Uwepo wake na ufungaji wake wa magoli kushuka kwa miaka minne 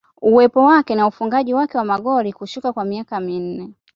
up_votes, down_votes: 2, 0